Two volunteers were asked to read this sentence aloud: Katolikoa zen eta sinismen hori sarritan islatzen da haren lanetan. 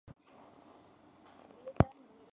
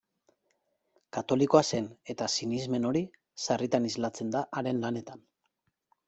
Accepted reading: second